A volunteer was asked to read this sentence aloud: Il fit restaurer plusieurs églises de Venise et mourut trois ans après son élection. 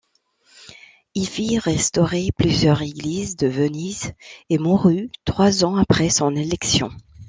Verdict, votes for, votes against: rejected, 0, 2